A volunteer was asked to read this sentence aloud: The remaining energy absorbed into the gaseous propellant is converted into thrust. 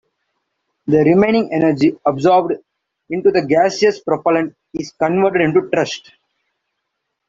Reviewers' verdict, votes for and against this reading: accepted, 2, 1